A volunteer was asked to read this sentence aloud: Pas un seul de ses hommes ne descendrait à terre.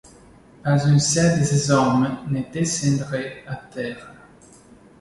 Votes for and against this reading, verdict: 2, 0, accepted